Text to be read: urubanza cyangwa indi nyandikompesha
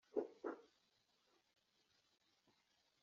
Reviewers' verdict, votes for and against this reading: rejected, 2, 3